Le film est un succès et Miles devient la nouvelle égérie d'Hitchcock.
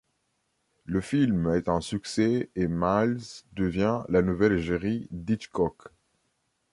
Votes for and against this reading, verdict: 2, 0, accepted